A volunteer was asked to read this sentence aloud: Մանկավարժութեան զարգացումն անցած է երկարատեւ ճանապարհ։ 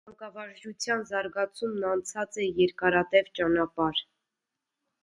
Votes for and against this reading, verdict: 1, 2, rejected